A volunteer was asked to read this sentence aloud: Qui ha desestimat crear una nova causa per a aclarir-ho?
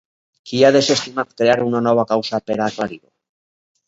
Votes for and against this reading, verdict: 0, 2, rejected